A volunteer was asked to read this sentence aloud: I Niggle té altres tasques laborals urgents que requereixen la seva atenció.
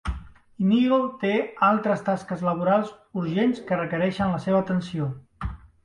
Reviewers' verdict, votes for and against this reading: rejected, 0, 2